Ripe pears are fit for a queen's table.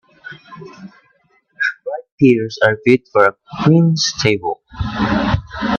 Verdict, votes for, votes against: rejected, 0, 2